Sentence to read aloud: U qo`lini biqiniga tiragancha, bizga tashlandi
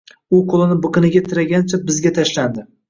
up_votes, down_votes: 2, 0